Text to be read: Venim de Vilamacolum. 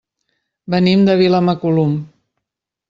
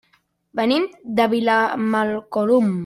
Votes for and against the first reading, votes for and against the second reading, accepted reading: 3, 0, 1, 2, first